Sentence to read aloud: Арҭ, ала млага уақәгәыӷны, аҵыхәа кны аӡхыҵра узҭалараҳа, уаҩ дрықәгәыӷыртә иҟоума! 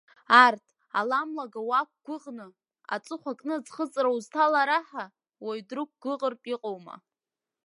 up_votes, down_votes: 3, 1